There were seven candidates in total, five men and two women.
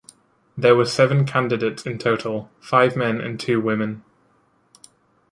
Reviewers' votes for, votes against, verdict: 2, 0, accepted